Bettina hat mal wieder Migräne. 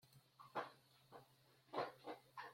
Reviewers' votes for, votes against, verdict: 0, 2, rejected